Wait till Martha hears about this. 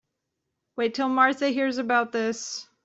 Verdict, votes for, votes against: accepted, 2, 0